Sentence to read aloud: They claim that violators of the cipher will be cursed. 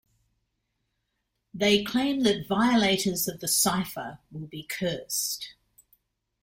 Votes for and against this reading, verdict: 1, 2, rejected